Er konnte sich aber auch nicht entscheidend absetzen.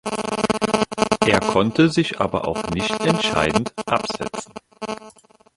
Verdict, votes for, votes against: rejected, 1, 2